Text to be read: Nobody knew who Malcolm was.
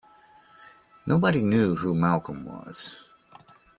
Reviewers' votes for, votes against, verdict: 2, 0, accepted